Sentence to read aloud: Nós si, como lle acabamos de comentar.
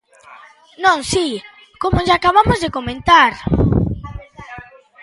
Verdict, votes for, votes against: rejected, 1, 2